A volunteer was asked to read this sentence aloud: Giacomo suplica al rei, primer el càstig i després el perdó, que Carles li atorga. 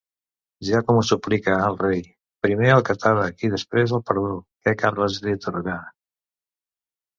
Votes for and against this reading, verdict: 0, 3, rejected